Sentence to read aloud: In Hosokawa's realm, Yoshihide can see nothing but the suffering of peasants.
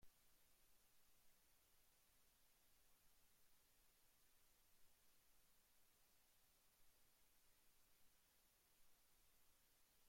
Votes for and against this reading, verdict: 0, 2, rejected